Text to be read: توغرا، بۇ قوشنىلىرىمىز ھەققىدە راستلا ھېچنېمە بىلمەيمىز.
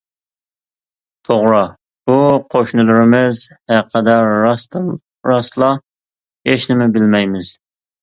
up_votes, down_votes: 0, 2